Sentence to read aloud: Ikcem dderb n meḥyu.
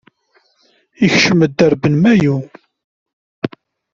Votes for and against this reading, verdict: 1, 2, rejected